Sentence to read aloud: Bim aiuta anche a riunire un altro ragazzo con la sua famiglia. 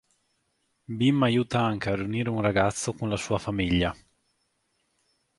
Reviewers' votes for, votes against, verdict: 1, 2, rejected